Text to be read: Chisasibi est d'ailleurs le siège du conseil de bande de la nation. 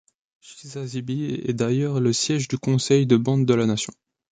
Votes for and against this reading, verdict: 2, 1, accepted